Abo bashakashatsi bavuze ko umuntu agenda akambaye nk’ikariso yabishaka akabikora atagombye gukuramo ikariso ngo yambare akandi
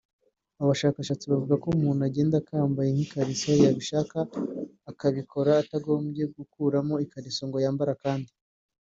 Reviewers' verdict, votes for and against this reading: accepted, 2, 0